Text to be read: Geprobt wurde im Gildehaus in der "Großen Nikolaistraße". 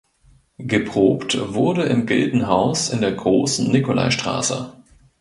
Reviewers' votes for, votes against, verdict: 0, 2, rejected